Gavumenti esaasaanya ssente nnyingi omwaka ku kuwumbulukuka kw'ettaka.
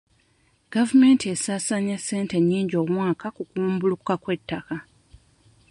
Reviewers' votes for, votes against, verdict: 1, 2, rejected